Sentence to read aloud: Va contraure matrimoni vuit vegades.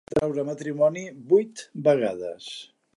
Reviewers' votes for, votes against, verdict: 1, 2, rejected